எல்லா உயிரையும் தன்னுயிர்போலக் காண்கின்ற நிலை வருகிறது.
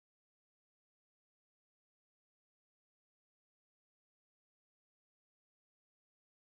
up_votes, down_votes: 0, 3